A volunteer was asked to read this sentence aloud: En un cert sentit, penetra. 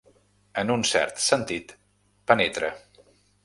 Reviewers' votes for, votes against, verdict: 4, 0, accepted